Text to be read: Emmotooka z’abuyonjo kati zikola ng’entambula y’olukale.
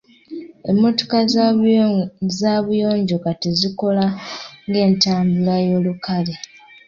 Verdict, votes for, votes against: accepted, 2, 0